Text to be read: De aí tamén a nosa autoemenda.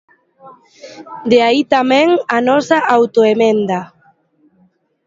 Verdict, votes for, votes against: accepted, 2, 0